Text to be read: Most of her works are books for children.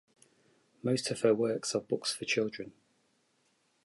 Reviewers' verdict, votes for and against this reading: accepted, 2, 0